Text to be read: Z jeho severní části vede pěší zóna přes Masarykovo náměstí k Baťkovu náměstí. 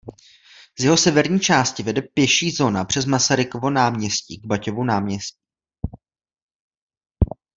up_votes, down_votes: 0, 2